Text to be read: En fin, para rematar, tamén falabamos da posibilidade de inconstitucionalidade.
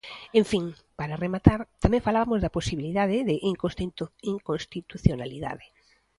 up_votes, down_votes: 0, 2